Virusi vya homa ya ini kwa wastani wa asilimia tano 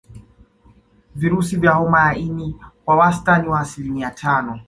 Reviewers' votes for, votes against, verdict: 2, 0, accepted